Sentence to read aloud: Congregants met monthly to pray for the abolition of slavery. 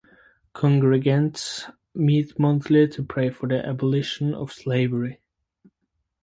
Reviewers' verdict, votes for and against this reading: rejected, 2, 2